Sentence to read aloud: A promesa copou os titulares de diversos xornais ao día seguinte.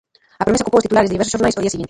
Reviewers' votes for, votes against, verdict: 0, 2, rejected